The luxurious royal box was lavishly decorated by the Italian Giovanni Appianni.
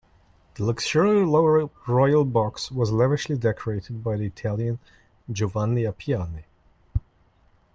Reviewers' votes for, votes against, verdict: 0, 2, rejected